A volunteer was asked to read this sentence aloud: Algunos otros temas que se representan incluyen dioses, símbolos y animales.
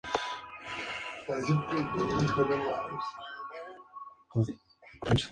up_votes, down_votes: 0, 2